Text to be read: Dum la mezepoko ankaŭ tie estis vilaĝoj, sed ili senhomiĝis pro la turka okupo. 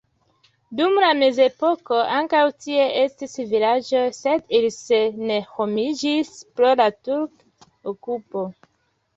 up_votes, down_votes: 1, 2